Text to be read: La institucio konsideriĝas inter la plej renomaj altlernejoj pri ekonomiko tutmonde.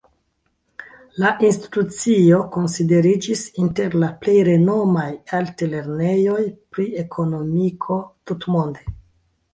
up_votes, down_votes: 2, 3